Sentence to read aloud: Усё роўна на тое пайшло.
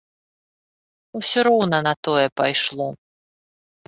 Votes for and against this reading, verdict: 2, 0, accepted